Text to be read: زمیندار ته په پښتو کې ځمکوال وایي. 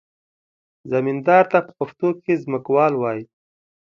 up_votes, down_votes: 2, 0